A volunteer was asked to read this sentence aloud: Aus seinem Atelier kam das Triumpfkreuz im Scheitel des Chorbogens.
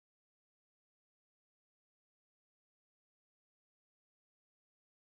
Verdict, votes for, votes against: rejected, 0, 2